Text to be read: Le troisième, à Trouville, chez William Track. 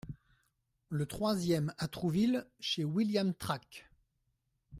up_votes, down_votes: 2, 0